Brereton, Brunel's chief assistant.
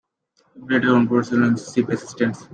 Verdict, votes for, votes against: rejected, 0, 2